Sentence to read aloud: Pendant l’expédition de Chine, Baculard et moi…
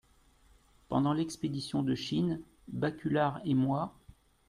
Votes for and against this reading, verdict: 2, 0, accepted